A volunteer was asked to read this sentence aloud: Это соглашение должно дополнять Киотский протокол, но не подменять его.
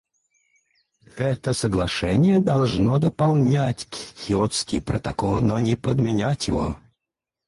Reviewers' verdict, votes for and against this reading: rejected, 2, 4